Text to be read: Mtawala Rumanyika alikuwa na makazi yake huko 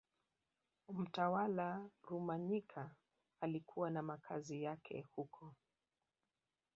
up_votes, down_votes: 0, 2